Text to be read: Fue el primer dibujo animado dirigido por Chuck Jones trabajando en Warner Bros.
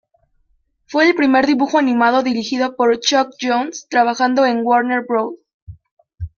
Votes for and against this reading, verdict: 0, 2, rejected